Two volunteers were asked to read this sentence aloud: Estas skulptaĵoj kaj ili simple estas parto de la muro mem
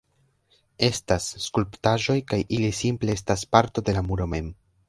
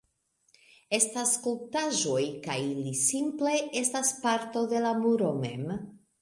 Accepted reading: first